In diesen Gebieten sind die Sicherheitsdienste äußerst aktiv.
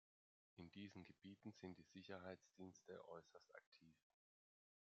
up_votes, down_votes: 1, 2